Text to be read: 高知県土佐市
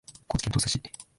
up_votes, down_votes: 1, 2